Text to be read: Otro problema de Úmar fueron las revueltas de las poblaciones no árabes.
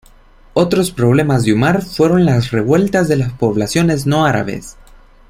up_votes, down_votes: 1, 2